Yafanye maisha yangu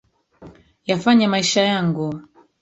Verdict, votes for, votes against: rejected, 0, 2